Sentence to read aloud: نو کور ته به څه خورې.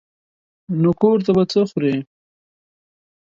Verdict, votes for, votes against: accepted, 2, 0